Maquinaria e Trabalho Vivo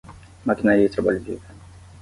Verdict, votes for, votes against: accepted, 10, 5